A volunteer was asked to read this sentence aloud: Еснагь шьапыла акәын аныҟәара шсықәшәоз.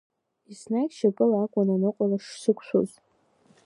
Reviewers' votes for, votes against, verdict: 2, 0, accepted